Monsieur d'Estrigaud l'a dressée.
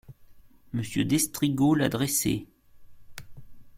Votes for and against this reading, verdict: 2, 0, accepted